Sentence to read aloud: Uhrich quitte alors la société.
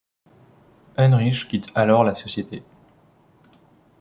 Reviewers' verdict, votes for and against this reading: rejected, 1, 3